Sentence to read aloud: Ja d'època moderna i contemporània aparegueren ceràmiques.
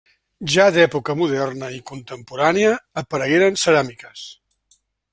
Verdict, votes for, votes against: rejected, 0, 2